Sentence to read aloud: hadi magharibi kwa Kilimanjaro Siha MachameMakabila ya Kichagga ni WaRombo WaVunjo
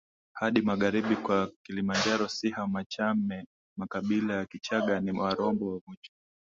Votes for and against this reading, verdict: 5, 1, accepted